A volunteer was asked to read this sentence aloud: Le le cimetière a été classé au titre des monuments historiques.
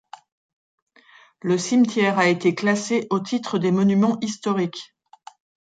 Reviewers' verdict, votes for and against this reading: rejected, 0, 2